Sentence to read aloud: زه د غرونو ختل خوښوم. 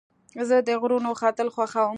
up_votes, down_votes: 2, 0